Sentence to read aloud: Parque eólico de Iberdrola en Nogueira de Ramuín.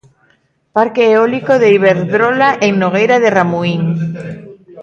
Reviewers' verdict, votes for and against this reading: accepted, 2, 0